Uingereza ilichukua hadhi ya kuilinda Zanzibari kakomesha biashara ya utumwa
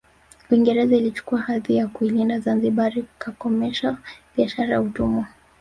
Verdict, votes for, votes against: accepted, 2, 0